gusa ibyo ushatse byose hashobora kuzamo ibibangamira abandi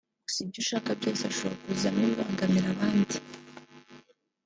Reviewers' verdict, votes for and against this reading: rejected, 1, 2